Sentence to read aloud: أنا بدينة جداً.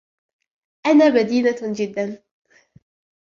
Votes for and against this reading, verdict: 2, 1, accepted